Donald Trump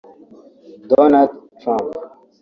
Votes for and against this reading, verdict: 1, 2, rejected